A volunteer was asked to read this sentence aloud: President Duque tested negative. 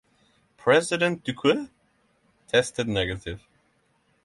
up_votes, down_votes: 3, 3